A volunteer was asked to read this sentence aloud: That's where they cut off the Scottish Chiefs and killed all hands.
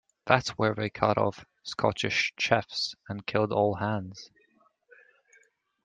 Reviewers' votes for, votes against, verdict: 2, 0, accepted